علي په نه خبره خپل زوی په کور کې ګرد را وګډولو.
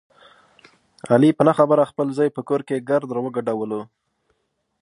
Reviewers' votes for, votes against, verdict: 2, 1, accepted